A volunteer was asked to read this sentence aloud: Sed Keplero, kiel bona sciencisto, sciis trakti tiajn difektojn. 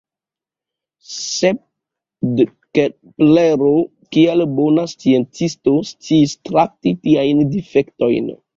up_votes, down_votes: 2, 0